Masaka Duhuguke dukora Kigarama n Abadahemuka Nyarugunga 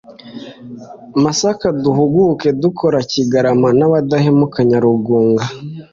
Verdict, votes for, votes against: accepted, 2, 0